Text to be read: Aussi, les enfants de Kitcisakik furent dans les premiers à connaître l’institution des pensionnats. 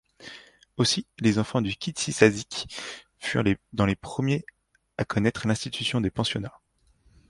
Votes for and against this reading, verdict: 1, 2, rejected